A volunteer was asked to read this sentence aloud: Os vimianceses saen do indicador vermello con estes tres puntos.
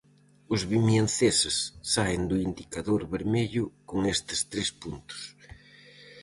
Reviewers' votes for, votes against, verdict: 4, 0, accepted